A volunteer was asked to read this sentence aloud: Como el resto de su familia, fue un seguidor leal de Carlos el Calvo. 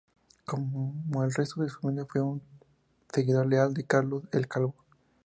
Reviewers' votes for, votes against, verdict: 2, 0, accepted